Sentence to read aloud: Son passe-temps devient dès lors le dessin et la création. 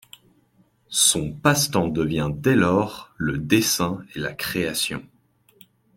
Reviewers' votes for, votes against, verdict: 2, 0, accepted